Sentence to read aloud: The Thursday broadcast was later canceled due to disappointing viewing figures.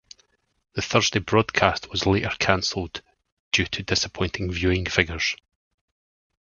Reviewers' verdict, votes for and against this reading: rejected, 2, 2